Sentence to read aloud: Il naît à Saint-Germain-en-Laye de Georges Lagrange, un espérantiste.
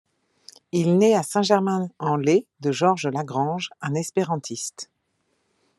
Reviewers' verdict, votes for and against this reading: accepted, 2, 0